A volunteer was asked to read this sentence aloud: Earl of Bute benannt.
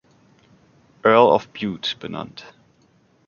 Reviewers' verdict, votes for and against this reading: accepted, 2, 0